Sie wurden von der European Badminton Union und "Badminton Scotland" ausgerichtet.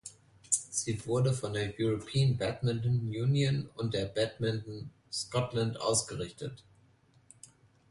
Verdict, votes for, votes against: accepted, 2, 1